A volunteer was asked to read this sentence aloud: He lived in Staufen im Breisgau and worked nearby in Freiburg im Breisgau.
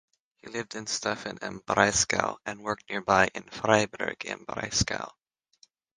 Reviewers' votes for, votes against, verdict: 6, 0, accepted